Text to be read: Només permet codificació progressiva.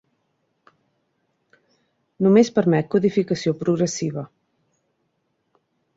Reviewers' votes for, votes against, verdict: 2, 0, accepted